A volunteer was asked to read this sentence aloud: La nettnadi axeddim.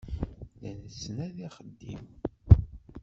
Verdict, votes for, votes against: rejected, 1, 2